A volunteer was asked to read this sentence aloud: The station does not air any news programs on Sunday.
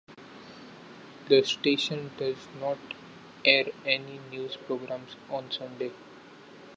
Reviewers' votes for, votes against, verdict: 2, 0, accepted